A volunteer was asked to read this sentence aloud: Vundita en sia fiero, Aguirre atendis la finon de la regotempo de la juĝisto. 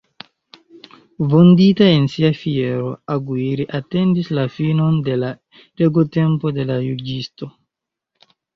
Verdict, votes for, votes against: accepted, 2, 1